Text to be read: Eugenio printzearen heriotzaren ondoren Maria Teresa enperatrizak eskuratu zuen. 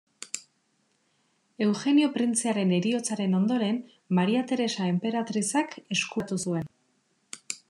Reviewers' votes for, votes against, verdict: 0, 2, rejected